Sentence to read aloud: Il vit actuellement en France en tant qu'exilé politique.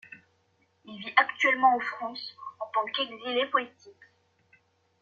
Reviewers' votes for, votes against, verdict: 1, 2, rejected